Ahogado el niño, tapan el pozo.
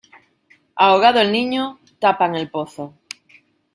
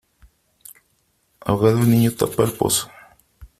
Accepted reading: first